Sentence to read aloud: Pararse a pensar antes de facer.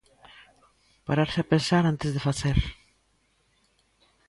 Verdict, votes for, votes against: accepted, 2, 0